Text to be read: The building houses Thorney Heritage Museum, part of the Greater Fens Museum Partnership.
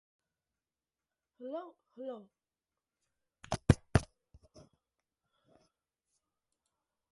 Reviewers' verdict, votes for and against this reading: rejected, 0, 4